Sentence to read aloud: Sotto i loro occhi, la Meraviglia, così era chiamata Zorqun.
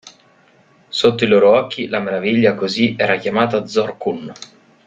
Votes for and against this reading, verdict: 0, 2, rejected